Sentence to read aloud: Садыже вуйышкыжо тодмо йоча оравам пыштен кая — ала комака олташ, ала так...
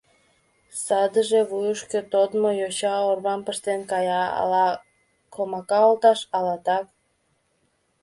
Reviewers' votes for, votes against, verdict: 1, 2, rejected